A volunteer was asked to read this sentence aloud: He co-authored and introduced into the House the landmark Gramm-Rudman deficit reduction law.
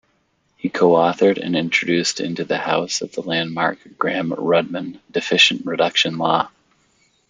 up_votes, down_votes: 0, 2